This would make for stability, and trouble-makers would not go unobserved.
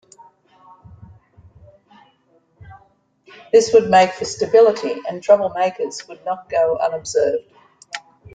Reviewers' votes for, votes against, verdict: 3, 0, accepted